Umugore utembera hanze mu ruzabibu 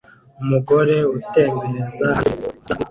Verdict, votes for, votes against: rejected, 0, 2